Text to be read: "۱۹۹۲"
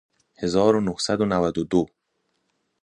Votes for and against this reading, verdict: 0, 2, rejected